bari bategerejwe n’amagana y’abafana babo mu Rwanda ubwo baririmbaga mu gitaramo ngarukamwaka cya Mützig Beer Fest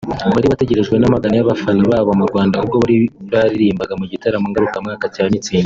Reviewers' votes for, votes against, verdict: 0, 2, rejected